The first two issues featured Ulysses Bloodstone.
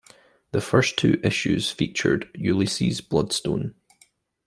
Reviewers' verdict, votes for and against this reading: accepted, 2, 0